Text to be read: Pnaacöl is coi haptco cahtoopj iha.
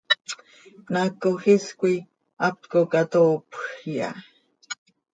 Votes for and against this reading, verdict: 2, 0, accepted